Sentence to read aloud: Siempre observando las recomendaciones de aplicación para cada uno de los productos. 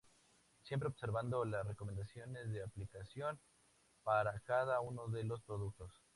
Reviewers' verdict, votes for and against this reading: accepted, 2, 0